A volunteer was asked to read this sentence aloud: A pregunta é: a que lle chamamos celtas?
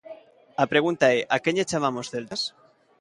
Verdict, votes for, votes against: accepted, 2, 1